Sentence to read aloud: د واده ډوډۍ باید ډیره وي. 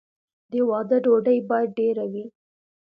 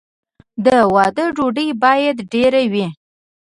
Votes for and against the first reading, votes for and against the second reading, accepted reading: 2, 0, 2, 3, first